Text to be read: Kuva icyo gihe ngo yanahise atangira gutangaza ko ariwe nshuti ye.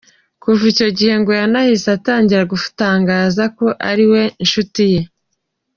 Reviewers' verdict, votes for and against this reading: accepted, 2, 0